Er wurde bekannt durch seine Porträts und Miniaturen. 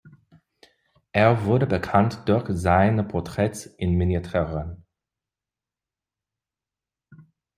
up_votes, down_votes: 0, 2